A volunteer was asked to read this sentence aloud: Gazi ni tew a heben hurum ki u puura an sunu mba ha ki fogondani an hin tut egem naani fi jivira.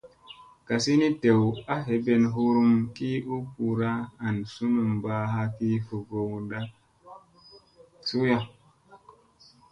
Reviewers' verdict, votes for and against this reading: rejected, 0, 2